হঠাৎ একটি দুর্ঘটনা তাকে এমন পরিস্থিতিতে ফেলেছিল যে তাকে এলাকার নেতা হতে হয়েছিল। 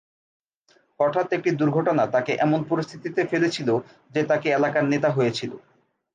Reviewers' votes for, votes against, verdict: 0, 2, rejected